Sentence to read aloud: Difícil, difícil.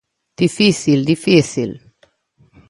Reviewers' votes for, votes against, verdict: 2, 0, accepted